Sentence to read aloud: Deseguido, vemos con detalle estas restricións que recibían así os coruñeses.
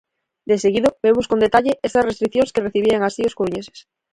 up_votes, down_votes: 2, 4